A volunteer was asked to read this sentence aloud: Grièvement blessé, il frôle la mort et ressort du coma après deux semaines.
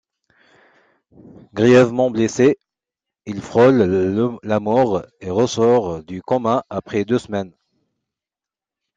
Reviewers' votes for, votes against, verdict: 1, 2, rejected